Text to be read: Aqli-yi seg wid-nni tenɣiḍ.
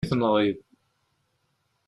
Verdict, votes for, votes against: rejected, 0, 2